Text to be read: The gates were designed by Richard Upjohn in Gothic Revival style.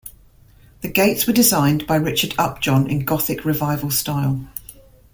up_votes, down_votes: 2, 0